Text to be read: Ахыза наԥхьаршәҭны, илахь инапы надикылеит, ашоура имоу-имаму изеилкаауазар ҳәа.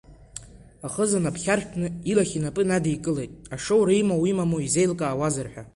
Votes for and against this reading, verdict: 2, 0, accepted